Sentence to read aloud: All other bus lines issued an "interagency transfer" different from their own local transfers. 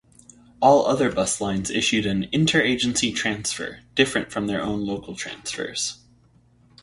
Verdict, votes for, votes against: rejected, 0, 2